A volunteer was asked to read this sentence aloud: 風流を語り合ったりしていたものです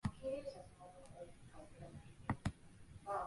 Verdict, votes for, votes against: rejected, 0, 4